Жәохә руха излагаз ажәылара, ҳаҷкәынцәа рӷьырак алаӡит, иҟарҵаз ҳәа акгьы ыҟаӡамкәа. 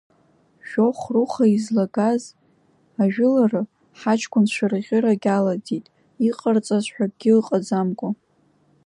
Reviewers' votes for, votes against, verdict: 0, 2, rejected